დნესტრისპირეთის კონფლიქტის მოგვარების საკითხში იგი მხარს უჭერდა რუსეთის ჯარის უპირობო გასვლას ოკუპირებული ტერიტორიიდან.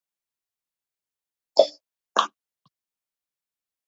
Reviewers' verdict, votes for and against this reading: rejected, 0, 2